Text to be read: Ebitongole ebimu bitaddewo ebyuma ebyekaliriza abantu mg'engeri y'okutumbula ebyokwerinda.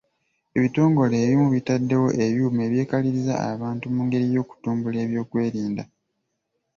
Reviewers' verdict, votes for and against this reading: accepted, 2, 0